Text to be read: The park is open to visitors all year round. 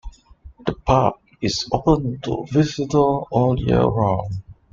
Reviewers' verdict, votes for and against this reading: rejected, 0, 2